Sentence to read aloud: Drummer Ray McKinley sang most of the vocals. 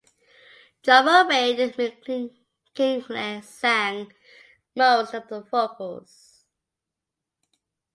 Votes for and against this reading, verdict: 0, 2, rejected